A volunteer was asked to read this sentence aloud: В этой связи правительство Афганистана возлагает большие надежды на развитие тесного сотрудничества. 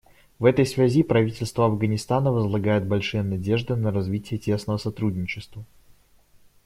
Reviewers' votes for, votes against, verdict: 1, 2, rejected